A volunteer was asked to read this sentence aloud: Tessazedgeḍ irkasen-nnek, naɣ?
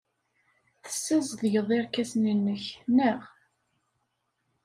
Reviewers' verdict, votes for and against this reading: accepted, 2, 0